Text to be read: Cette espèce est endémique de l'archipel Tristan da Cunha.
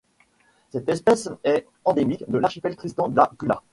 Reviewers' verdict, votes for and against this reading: accepted, 2, 1